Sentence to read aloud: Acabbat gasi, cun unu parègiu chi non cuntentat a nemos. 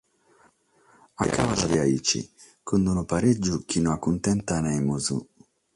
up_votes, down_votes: 3, 6